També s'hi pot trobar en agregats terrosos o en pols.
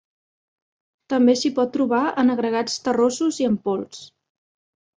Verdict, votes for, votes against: rejected, 1, 2